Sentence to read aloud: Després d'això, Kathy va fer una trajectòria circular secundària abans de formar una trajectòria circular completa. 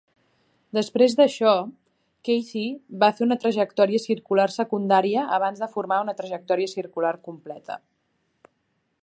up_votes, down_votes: 3, 0